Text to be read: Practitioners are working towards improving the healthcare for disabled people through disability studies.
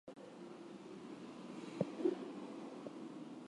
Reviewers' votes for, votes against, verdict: 0, 2, rejected